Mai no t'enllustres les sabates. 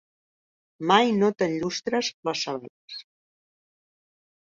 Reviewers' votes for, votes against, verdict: 0, 2, rejected